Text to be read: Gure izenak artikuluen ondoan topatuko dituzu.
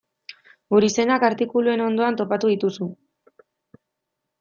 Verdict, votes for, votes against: rejected, 1, 2